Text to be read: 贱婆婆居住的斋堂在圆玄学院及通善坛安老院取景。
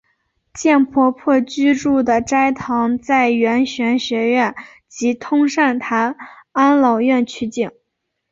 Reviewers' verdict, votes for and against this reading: accepted, 4, 0